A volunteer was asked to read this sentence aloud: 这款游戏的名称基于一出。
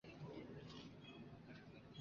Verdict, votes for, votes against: rejected, 0, 2